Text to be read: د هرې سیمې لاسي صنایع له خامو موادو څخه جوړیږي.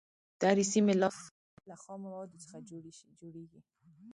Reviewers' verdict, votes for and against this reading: rejected, 1, 2